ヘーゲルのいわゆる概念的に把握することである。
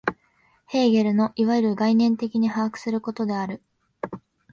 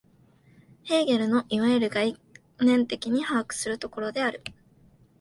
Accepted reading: first